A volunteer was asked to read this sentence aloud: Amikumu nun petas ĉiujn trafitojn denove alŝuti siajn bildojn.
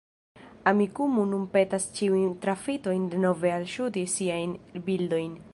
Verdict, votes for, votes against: rejected, 1, 2